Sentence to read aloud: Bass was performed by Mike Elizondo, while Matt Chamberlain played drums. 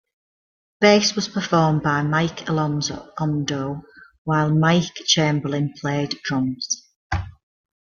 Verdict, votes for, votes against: rejected, 0, 2